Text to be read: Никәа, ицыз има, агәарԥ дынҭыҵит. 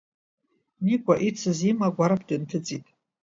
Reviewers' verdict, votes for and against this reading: accepted, 2, 0